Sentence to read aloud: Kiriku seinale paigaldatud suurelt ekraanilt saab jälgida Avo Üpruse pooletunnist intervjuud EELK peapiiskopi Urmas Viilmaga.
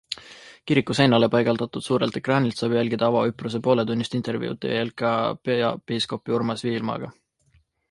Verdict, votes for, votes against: accepted, 2, 1